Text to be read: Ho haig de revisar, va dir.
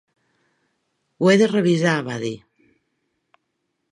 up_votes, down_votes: 0, 3